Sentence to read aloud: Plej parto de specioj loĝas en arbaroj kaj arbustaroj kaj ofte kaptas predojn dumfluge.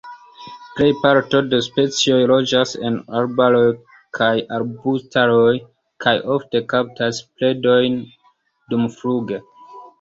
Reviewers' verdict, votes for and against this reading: rejected, 1, 2